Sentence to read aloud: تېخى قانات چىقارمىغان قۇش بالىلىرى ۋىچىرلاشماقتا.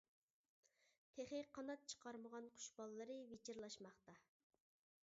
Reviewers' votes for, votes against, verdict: 2, 0, accepted